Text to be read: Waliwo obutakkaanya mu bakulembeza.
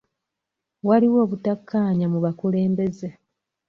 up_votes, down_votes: 0, 2